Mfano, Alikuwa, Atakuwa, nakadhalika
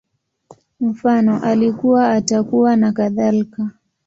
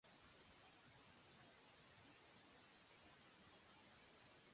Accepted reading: first